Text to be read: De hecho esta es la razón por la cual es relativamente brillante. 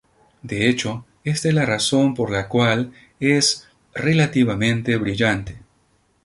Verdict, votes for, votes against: accepted, 4, 2